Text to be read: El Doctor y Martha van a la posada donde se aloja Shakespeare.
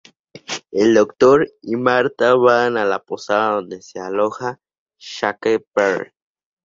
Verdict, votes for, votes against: accepted, 2, 0